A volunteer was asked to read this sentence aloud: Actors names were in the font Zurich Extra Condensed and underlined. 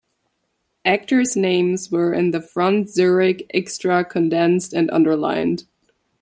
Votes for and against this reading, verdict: 0, 2, rejected